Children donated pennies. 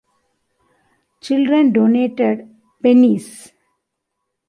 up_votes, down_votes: 2, 0